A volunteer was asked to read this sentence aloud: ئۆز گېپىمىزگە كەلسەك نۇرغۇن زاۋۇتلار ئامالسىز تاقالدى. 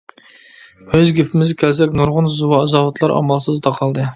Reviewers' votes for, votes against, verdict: 2, 0, accepted